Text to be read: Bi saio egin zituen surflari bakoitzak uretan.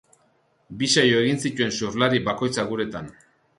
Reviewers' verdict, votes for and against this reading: accepted, 4, 0